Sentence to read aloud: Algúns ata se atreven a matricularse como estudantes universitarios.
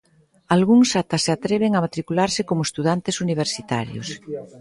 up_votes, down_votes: 3, 0